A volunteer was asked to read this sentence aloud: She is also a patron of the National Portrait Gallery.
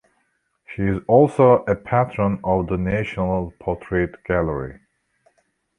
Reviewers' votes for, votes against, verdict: 1, 2, rejected